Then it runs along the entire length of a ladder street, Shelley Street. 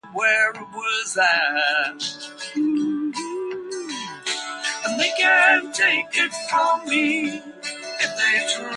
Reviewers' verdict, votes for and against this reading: rejected, 0, 2